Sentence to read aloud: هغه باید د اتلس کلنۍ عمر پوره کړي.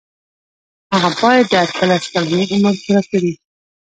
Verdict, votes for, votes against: rejected, 0, 2